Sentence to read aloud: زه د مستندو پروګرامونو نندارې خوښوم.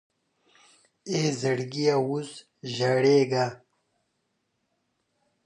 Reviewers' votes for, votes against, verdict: 0, 2, rejected